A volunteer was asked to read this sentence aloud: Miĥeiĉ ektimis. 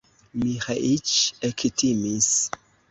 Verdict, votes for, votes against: rejected, 0, 2